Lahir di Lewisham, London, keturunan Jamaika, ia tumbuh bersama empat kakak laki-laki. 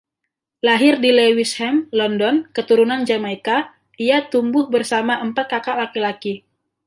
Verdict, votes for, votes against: rejected, 1, 2